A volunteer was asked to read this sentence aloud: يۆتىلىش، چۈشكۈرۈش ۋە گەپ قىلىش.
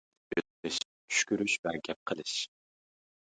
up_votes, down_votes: 0, 2